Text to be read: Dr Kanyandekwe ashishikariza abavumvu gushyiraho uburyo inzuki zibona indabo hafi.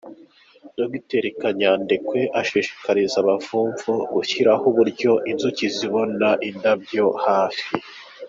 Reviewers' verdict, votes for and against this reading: accepted, 2, 0